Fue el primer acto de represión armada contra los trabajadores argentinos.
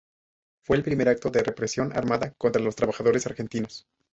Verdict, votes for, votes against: rejected, 0, 2